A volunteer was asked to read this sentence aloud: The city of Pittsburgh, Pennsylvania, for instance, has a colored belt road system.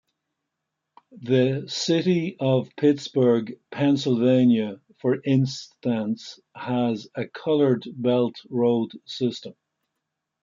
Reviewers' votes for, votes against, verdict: 2, 0, accepted